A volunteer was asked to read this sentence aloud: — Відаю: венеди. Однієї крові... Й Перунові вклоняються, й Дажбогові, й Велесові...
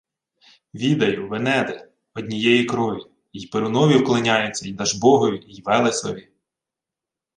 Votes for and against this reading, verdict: 2, 0, accepted